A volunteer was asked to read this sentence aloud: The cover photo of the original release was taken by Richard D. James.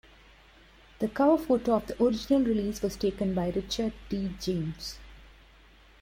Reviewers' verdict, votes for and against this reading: rejected, 1, 2